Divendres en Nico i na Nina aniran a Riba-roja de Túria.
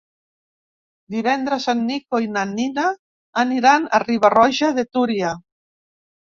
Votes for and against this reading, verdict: 2, 0, accepted